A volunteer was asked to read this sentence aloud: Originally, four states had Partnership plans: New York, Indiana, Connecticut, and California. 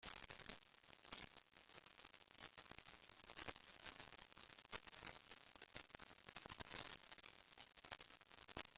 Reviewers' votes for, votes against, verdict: 0, 2, rejected